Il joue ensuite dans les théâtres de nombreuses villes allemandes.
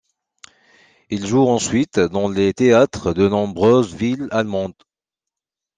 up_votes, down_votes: 2, 0